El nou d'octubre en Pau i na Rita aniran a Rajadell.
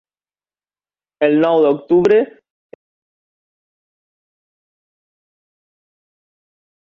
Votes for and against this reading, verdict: 0, 3, rejected